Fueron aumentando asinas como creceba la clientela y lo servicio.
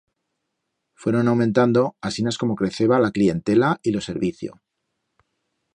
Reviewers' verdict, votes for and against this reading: rejected, 1, 2